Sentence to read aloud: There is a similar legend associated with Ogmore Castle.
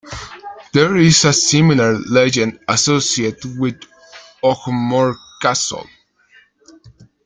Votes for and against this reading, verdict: 2, 0, accepted